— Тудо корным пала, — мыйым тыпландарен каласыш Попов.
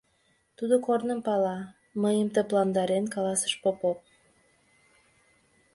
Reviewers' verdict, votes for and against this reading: accepted, 2, 0